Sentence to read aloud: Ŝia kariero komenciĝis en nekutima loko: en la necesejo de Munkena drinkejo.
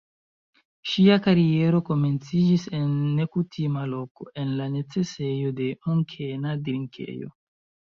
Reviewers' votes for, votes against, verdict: 2, 1, accepted